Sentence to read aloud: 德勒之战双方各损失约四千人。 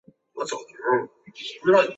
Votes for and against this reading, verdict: 1, 4, rejected